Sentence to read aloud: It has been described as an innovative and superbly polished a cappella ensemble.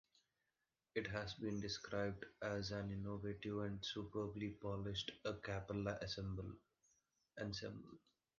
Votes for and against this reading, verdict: 0, 2, rejected